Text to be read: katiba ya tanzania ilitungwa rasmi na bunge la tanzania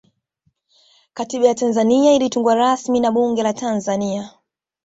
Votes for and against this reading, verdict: 2, 0, accepted